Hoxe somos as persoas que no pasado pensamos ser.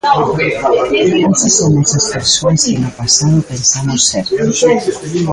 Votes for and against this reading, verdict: 0, 2, rejected